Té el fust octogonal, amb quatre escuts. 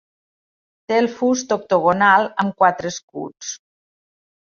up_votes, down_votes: 3, 0